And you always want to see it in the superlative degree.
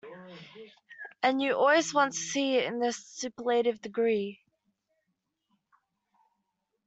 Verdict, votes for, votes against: rejected, 0, 2